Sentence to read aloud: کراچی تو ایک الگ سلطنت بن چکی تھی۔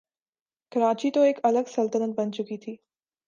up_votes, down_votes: 2, 0